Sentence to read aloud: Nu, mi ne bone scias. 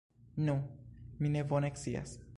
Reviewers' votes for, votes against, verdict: 1, 2, rejected